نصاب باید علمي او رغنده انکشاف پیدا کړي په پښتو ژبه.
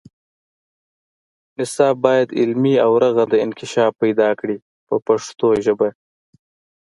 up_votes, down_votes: 2, 0